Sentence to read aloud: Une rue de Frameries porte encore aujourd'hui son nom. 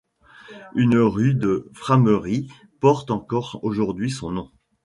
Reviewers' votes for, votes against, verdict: 2, 0, accepted